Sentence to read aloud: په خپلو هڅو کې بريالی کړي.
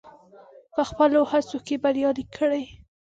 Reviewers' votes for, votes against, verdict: 2, 0, accepted